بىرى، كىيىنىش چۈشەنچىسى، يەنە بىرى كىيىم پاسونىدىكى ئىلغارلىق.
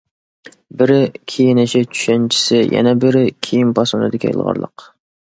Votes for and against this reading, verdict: 0, 2, rejected